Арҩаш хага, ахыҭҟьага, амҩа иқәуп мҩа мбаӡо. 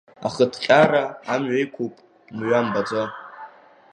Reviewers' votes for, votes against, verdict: 0, 2, rejected